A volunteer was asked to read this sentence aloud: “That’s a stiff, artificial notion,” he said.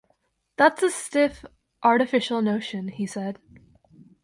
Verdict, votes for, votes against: accepted, 2, 0